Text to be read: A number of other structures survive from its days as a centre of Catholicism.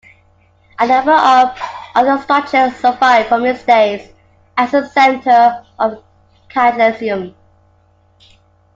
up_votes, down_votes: 2, 3